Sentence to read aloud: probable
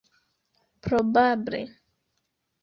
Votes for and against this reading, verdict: 2, 0, accepted